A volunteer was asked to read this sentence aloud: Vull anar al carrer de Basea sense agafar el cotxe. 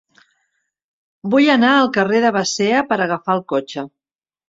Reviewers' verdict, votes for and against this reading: rejected, 2, 3